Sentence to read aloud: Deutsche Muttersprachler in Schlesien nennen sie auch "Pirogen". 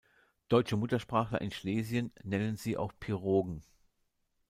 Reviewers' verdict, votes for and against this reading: rejected, 1, 2